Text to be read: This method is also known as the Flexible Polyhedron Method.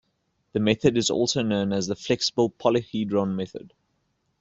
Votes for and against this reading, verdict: 1, 2, rejected